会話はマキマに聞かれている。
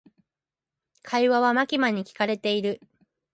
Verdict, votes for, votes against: accepted, 2, 0